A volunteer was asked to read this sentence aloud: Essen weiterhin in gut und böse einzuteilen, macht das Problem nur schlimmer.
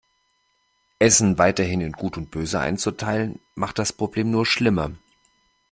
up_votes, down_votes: 2, 0